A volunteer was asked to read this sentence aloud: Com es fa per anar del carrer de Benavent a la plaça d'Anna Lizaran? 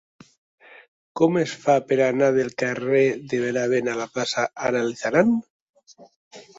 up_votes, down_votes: 1, 2